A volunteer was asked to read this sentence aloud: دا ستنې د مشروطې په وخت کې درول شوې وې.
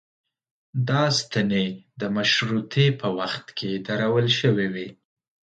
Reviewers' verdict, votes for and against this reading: accepted, 2, 0